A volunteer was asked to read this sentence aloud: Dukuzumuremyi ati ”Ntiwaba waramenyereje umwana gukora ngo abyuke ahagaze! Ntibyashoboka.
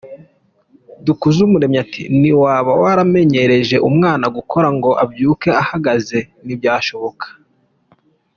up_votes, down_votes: 2, 1